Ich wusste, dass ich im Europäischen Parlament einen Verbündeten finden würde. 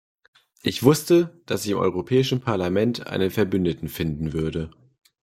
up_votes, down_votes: 1, 2